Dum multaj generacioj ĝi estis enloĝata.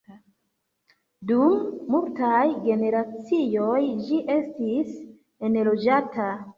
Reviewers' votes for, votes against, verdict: 1, 2, rejected